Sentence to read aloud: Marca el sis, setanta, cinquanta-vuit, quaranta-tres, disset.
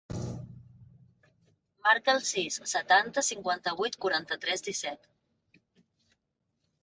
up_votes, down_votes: 4, 0